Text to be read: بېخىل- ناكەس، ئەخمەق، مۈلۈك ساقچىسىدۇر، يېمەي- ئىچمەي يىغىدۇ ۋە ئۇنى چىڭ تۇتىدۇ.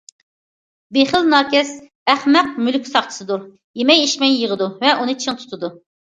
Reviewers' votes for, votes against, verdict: 2, 0, accepted